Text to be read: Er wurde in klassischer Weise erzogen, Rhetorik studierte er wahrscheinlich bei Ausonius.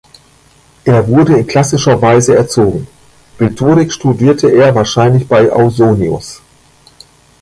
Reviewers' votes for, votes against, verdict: 1, 2, rejected